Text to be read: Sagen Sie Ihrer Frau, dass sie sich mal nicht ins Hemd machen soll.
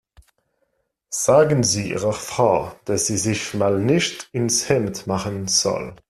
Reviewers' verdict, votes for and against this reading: accepted, 2, 0